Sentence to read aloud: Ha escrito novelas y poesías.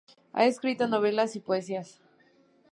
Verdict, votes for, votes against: accepted, 2, 0